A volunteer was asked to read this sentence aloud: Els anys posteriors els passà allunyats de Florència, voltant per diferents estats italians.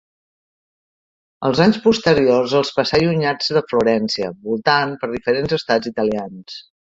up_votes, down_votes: 2, 1